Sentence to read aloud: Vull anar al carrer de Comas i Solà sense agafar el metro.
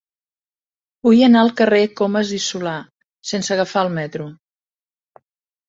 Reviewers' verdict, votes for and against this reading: rejected, 1, 2